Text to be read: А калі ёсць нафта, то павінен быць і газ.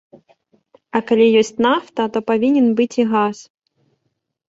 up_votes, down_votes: 2, 0